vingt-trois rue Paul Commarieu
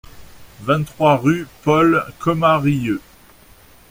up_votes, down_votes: 2, 0